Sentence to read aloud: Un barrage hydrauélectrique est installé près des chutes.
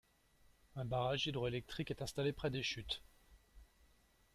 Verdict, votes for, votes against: rejected, 1, 2